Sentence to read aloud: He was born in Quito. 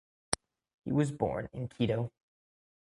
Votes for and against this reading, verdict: 1, 2, rejected